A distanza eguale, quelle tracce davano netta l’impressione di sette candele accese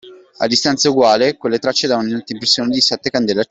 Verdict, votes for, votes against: rejected, 0, 2